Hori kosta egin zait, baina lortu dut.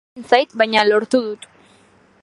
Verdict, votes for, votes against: rejected, 0, 2